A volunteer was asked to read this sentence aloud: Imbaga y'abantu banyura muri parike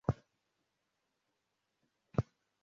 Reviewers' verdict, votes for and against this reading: rejected, 0, 2